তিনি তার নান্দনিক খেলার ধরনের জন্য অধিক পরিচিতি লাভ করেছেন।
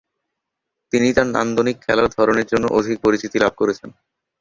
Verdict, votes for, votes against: accepted, 2, 0